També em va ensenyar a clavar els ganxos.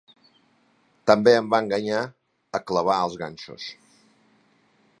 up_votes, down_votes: 0, 2